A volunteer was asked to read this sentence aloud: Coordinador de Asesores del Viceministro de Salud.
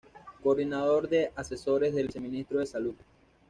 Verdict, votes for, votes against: accepted, 2, 0